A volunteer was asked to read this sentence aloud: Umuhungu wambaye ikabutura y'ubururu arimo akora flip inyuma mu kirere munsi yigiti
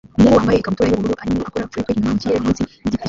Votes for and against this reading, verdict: 0, 2, rejected